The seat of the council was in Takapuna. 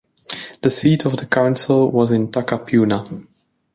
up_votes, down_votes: 2, 0